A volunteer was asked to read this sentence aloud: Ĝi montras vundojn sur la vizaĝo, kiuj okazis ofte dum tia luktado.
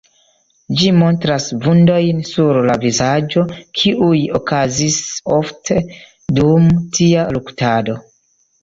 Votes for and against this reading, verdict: 2, 0, accepted